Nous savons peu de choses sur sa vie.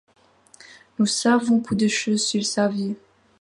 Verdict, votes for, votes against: accepted, 2, 0